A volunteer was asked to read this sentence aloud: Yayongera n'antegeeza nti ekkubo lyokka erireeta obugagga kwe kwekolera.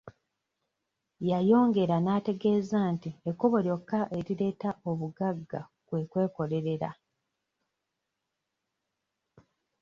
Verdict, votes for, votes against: rejected, 1, 2